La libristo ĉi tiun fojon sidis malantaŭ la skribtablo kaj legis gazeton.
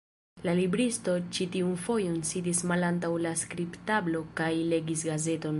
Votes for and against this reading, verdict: 0, 2, rejected